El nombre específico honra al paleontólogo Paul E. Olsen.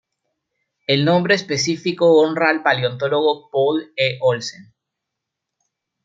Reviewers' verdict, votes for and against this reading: accepted, 2, 0